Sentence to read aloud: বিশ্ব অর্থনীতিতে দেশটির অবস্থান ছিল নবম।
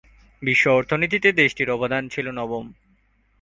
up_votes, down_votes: 3, 1